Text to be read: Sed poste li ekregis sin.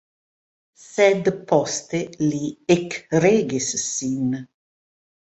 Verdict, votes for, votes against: rejected, 0, 2